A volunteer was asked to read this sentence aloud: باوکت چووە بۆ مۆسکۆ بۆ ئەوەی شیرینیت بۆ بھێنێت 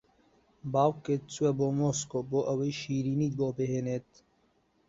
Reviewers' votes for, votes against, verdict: 5, 0, accepted